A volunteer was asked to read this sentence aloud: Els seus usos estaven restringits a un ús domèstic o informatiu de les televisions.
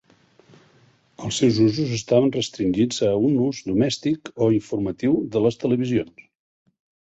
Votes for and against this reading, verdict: 2, 0, accepted